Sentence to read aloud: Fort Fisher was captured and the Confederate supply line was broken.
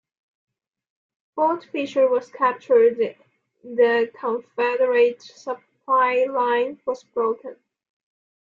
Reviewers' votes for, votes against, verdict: 0, 2, rejected